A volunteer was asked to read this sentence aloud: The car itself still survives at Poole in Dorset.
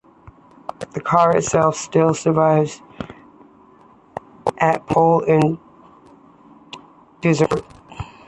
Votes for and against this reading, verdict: 1, 2, rejected